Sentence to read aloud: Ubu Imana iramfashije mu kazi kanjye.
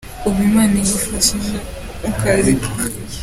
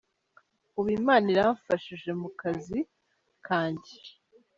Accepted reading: first